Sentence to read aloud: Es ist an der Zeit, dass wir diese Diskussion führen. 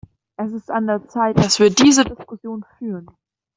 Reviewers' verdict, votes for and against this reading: rejected, 1, 2